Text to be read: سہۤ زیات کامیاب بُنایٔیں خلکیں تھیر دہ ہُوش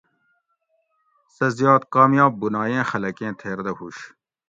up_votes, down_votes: 2, 0